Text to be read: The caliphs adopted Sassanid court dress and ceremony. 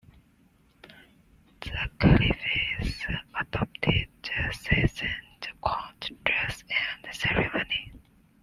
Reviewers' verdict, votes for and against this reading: rejected, 1, 2